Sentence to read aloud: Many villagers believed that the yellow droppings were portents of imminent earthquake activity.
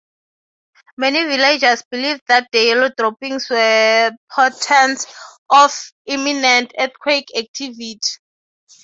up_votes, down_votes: 0, 3